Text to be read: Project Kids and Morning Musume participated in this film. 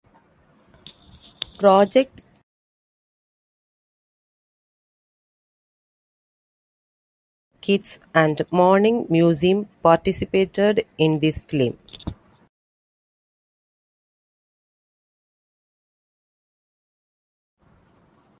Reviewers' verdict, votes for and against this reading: rejected, 1, 2